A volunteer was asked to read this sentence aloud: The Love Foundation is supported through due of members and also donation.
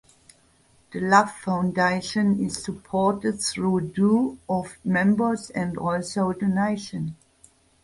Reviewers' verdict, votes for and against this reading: accepted, 4, 2